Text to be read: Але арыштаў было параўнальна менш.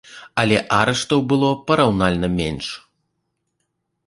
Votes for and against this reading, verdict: 2, 0, accepted